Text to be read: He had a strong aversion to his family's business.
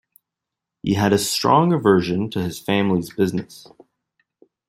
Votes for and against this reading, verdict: 2, 0, accepted